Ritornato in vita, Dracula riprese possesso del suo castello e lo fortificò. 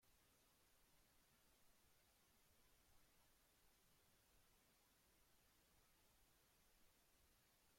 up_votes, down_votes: 0, 2